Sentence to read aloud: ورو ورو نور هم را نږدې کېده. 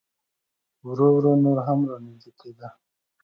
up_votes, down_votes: 2, 1